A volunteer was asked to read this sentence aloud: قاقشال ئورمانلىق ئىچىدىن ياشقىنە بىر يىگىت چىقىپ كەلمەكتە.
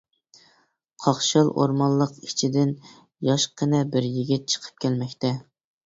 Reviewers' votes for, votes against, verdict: 2, 0, accepted